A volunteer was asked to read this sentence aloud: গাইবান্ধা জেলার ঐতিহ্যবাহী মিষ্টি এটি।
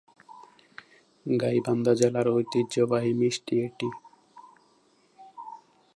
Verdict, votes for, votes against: accepted, 3, 1